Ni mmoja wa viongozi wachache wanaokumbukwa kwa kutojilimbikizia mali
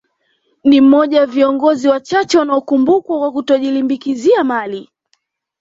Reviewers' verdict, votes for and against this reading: accepted, 2, 0